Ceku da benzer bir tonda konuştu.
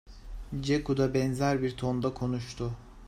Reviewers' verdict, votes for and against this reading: accepted, 2, 0